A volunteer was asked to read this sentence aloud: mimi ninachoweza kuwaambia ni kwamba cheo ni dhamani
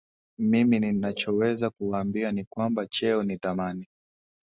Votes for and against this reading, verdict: 2, 0, accepted